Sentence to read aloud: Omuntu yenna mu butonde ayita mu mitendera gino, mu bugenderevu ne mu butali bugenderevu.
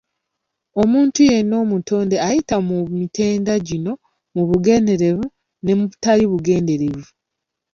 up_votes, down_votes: 0, 2